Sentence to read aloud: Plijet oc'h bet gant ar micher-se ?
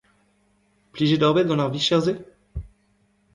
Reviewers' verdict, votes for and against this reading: accepted, 2, 1